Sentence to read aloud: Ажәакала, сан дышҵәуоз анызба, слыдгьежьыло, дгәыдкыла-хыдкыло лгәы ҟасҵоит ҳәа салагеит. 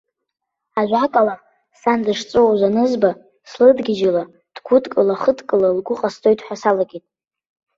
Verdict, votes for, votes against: accepted, 2, 0